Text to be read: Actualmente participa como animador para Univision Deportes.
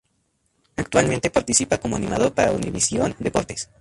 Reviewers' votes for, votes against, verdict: 0, 4, rejected